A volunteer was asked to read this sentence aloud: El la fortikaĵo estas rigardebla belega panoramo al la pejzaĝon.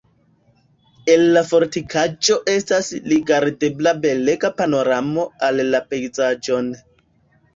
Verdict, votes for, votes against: rejected, 1, 2